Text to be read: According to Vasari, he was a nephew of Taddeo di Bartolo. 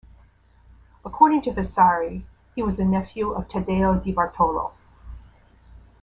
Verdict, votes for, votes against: rejected, 1, 2